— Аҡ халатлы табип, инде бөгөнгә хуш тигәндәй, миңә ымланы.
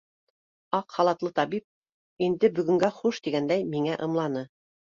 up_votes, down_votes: 2, 0